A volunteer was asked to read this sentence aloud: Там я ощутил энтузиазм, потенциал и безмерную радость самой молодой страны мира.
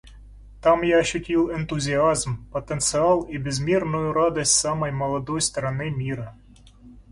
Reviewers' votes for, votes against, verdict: 2, 0, accepted